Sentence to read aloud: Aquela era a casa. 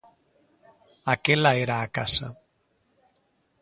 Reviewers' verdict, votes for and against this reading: accepted, 2, 0